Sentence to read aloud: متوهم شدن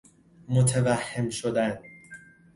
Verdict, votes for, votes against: accepted, 2, 0